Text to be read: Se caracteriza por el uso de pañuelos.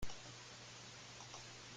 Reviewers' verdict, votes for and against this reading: rejected, 0, 2